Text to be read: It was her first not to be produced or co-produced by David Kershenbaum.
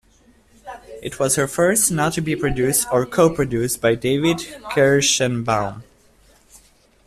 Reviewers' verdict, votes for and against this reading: accepted, 2, 1